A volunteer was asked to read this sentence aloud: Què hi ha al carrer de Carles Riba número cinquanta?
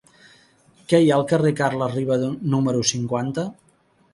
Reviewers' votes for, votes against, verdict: 1, 2, rejected